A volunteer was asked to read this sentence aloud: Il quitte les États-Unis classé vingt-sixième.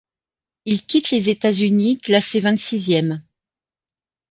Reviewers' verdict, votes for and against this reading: accepted, 2, 1